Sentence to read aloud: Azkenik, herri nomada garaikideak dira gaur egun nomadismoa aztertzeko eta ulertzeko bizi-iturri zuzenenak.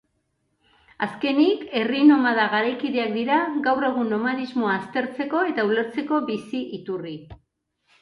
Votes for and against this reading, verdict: 0, 2, rejected